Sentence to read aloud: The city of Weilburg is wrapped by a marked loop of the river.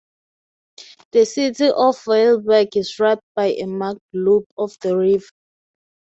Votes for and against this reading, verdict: 2, 2, rejected